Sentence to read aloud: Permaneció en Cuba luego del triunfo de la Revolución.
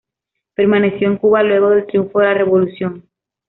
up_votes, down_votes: 2, 0